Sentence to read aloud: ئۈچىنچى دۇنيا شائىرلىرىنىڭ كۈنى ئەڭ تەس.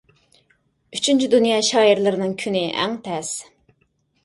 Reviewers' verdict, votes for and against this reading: accepted, 2, 0